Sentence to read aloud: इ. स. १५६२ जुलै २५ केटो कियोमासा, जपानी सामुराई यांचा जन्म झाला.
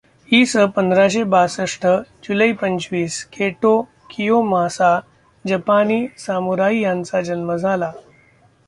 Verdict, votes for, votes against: rejected, 0, 2